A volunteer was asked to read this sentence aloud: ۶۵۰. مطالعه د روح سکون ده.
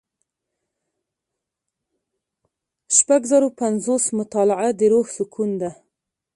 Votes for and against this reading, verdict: 0, 2, rejected